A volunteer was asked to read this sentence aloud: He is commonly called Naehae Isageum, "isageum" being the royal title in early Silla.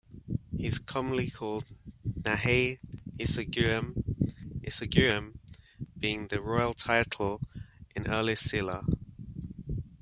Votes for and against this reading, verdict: 1, 2, rejected